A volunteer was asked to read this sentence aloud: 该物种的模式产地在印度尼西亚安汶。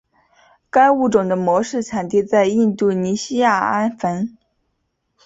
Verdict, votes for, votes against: accepted, 5, 2